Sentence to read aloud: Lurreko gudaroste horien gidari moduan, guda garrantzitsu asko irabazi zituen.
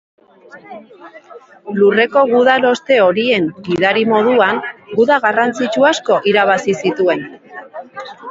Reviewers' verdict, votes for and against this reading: rejected, 0, 2